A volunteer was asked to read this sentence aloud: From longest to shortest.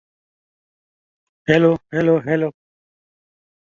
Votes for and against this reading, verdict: 0, 2, rejected